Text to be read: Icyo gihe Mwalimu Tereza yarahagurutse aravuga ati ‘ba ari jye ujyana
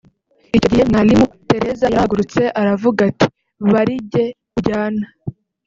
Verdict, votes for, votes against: rejected, 1, 2